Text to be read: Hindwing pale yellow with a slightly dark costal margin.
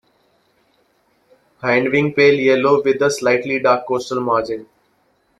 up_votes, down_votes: 0, 2